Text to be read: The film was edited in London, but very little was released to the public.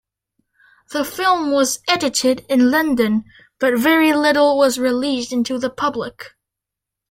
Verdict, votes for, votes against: rejected, 0, 2